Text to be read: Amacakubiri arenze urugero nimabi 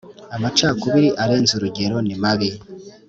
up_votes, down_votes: 4, 0